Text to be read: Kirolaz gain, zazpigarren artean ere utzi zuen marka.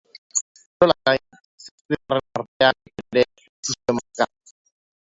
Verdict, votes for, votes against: rejected, 0, 3